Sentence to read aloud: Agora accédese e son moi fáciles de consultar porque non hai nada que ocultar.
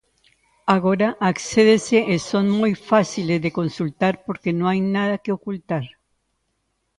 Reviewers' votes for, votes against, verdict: 0, 2, rejected